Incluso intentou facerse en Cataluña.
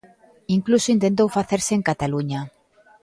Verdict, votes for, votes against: accepted, 2, 0